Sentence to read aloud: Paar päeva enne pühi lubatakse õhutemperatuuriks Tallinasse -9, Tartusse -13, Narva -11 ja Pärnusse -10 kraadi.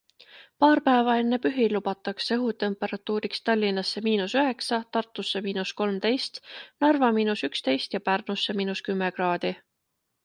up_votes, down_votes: 0, 2